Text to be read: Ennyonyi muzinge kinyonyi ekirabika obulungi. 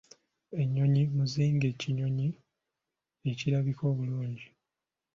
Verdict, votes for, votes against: accepted, 2, 1